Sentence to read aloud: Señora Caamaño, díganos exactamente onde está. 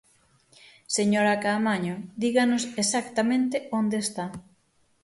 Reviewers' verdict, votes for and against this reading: accepted, 6, 0